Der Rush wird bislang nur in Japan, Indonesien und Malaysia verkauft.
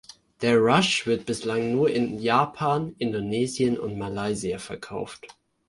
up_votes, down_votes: 2, 0